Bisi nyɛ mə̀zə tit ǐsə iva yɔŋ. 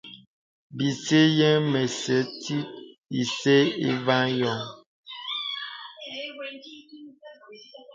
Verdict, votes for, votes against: rejected, 0, 2